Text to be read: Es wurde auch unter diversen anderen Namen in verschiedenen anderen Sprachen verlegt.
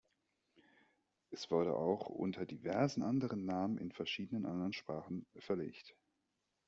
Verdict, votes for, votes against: accepted, 2, 0